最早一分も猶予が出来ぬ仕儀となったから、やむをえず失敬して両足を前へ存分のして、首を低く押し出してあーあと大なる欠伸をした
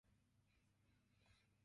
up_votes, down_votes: 0, 2